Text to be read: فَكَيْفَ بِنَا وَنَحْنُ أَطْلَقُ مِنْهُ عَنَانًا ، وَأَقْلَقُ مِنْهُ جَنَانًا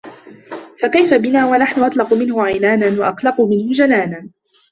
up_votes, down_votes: 0, 2